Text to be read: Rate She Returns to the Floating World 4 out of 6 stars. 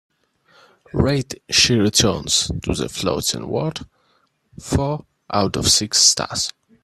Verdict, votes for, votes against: rejected, 0, 2